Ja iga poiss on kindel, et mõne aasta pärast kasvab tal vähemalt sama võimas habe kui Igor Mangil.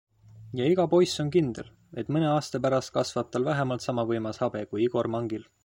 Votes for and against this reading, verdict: 2, 0, accepted